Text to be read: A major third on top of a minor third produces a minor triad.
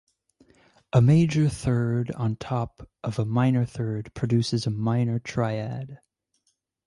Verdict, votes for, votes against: rejected, 2, 2